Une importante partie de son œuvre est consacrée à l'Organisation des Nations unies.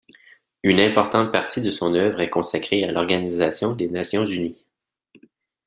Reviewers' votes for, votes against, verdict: 2, 0, accepted